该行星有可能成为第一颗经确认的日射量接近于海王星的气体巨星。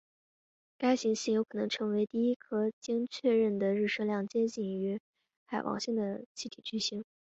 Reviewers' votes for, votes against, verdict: 0, 2, rejected